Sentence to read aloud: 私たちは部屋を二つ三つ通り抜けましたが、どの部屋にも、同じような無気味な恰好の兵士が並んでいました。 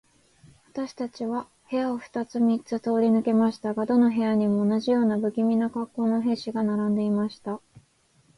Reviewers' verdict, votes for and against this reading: accepted, 10, 0